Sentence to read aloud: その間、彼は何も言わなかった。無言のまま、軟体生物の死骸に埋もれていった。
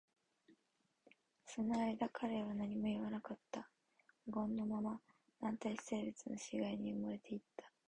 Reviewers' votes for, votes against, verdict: 0, 2, rejected